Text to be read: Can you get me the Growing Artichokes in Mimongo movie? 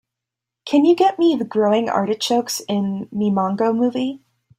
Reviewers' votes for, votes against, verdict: 2, 0, accepted